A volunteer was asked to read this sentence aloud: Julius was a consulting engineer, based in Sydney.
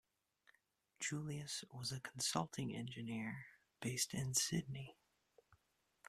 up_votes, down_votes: 2, 0